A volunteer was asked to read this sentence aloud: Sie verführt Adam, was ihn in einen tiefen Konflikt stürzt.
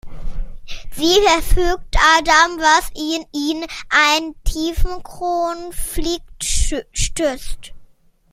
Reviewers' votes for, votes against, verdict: 0, 2, rejected